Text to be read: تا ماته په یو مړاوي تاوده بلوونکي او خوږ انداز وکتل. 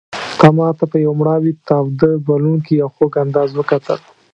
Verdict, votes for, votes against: rejected, 1, 2